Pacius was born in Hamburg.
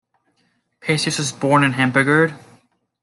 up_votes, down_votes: 0, 2